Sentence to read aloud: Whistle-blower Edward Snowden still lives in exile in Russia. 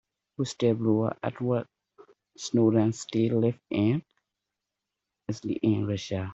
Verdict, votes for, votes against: rejected, 0, 2